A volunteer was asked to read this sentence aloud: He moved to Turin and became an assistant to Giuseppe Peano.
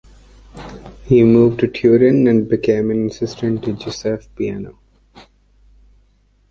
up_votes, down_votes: 1, 2